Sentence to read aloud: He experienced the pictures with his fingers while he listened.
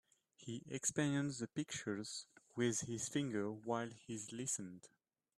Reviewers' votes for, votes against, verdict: 1, 2, rejected